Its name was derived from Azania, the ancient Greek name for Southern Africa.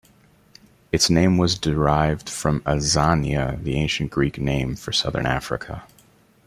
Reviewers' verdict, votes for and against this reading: accepted, 2, 0